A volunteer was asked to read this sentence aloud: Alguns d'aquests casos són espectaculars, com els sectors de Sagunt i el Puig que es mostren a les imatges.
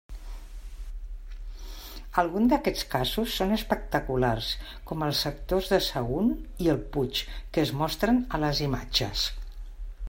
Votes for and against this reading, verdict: 1, 2, rejected